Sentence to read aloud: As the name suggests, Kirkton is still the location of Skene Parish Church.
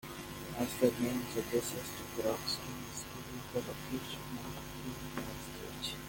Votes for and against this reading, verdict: 0, 2, rejected